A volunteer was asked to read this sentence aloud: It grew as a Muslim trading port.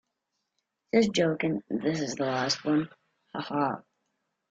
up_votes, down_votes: 0, 2